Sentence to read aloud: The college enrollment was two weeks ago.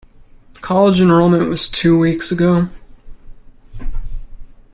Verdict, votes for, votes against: accepted, 2, 0